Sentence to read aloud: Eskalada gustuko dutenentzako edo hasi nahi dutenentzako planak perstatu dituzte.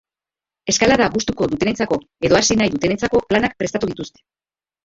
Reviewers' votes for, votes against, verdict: 0, 2, rejected